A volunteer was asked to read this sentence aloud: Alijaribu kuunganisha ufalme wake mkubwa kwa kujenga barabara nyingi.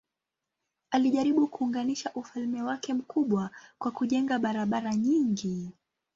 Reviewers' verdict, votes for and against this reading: accepted, 2, 0